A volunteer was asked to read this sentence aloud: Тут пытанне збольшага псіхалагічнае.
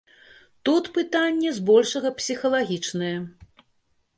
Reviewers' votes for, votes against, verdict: 2, 0, accepted